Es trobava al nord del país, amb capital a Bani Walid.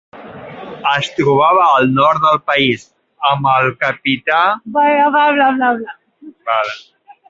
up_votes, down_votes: 0, 2